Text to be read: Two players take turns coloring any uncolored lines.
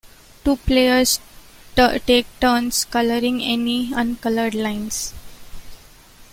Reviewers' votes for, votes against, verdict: 1, 2, rejected